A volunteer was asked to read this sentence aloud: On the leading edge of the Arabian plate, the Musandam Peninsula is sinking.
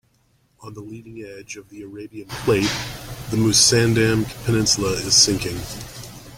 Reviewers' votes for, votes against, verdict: 1, 2, rejected